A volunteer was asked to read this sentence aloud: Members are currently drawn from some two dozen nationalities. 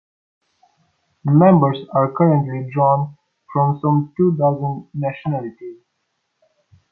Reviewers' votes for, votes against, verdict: 2, 1, accepted